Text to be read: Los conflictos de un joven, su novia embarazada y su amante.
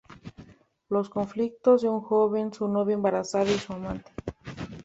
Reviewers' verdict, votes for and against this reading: accepted, 2, 1